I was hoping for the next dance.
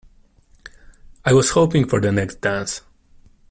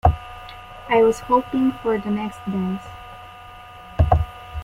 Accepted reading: first